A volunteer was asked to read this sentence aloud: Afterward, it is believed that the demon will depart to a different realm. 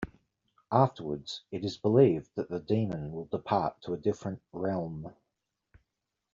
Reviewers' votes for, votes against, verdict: 0, 2, rejected